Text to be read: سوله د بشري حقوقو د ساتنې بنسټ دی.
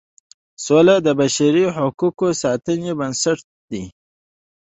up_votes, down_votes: 2, 0